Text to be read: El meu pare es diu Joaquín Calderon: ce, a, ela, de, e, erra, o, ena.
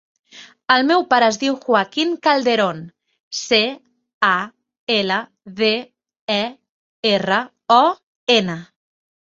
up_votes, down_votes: 2, 0